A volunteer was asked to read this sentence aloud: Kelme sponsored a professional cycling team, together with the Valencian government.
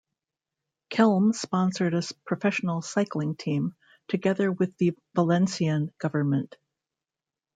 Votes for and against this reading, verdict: 0, 2, rejected